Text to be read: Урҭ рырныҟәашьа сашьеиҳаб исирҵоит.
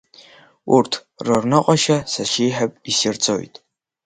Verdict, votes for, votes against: accepted, 3, 0